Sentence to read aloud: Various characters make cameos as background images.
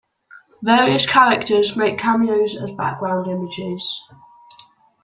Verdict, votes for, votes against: accepted, 2, 1